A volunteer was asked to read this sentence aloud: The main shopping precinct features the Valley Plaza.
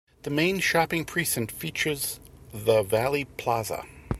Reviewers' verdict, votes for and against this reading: accepted, 3, 1